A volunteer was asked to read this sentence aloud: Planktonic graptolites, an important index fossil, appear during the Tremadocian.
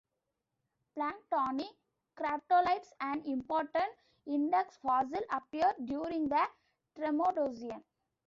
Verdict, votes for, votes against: rejected, 1, 2